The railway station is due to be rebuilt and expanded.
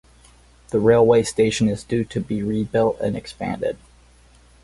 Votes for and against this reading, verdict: 2, 2, rejected